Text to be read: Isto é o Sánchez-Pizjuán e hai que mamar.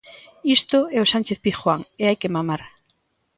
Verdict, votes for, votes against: accepted, 2, 0